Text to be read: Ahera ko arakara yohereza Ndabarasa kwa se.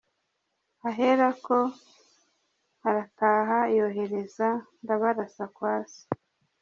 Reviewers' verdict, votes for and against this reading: accepted, 2, 1